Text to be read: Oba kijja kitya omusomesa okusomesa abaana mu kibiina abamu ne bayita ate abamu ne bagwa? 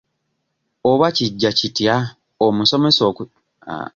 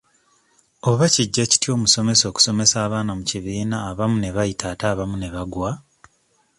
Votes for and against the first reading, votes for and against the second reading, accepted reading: 0, 2, 2, 0, second